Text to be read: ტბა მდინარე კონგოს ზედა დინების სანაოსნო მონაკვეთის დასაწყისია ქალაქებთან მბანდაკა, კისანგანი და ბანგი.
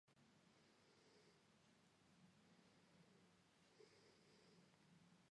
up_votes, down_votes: 1, 2